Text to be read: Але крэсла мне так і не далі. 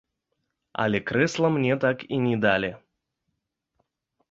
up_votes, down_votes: 1, 2